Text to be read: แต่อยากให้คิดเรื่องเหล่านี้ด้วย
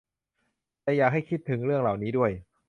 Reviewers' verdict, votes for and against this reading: rejected, 0, 2